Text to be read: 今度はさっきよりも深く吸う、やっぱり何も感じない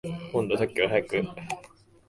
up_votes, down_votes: 0, 2